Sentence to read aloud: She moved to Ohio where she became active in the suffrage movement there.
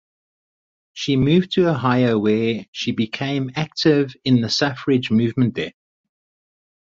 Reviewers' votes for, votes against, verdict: 4, 0, accepted